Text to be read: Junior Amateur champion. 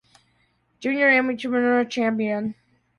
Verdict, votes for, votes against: rejected, 0, 2